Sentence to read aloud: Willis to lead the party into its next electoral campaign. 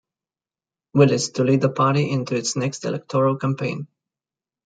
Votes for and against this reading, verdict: 2, 0, accepted